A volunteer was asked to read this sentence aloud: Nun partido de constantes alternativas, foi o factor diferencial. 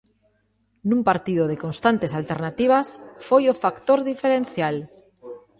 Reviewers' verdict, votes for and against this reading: accepted, 2, 0